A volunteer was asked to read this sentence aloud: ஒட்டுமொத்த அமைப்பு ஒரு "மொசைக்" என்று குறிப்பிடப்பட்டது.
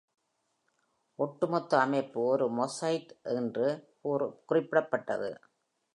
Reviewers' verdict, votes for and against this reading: rejected, 1, 2